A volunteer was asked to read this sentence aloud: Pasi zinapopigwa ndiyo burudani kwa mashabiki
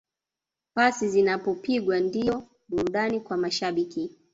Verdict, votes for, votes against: rejected, 1, 2